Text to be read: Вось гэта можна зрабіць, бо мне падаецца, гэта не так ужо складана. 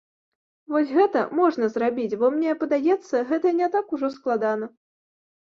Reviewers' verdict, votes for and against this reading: accepted, 2, 0